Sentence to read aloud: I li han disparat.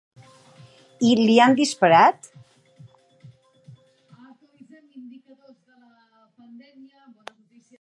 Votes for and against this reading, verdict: 1, 2, rejected